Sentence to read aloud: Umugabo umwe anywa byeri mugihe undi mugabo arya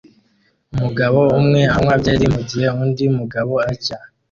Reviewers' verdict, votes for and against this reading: rejected, 0, 2